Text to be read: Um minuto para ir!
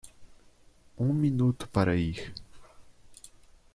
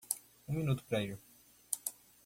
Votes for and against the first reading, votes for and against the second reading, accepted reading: 2, 0, 0, 2, first